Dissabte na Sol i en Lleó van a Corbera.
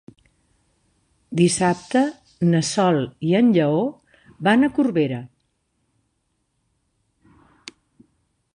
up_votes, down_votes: 3, 0